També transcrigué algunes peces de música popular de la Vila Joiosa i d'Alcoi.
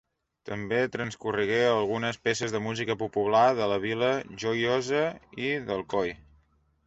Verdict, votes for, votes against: rejected, 1, 2